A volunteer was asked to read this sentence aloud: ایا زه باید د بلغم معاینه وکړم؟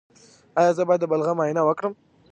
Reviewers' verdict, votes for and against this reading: rejected, 1, 2